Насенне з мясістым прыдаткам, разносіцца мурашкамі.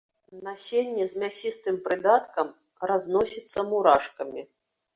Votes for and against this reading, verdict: 2, 0, accepted